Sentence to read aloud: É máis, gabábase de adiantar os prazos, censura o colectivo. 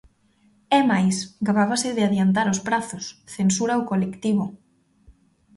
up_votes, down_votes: 2, 1